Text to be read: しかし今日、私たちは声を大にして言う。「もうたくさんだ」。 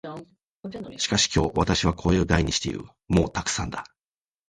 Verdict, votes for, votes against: rejected, 1, 2